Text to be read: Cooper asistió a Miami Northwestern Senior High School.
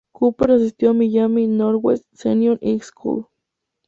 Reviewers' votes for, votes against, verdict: 2, 2, rejected